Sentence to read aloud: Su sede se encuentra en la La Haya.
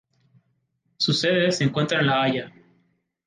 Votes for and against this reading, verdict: 2, 0, accepted